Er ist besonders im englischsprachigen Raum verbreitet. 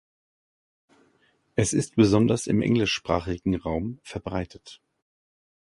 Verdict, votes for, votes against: rejected, 0, 2